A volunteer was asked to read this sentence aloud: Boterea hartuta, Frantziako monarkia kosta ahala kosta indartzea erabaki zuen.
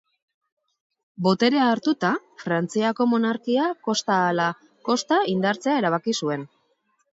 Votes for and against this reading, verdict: 2, 0, accepted